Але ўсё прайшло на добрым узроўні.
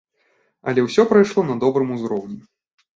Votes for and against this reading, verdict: 2, 0, accepted